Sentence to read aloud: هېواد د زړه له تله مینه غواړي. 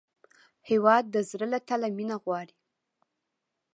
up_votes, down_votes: 2, 0